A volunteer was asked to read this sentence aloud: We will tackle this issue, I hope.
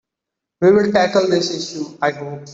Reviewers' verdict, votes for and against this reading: rejected, 1, 2